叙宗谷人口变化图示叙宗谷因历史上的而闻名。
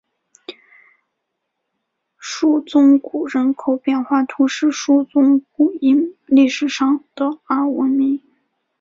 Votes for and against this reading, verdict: 0, 2, rejected